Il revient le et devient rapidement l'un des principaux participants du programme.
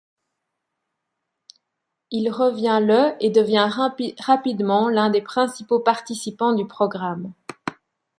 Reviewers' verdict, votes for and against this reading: rejected, 1, 2